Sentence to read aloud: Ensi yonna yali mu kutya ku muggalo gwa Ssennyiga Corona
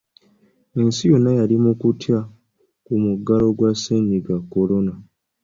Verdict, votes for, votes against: accepted, 2, 0